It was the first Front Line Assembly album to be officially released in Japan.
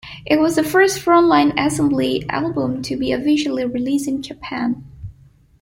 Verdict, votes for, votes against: accepted, 2, 0